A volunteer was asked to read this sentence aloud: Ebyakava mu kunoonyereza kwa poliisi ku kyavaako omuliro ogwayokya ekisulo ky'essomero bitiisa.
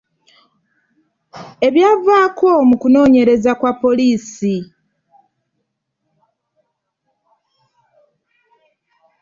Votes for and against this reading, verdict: 0, 2, rejected